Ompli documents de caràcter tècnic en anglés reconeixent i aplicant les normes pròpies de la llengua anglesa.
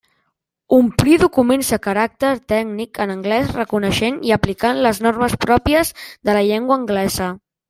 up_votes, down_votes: 0, 2